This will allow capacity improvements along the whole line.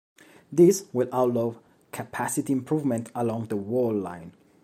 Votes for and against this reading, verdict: 0, 2, rejected